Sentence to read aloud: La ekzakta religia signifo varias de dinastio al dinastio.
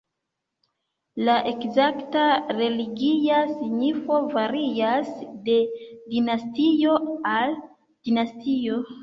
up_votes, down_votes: 2, 0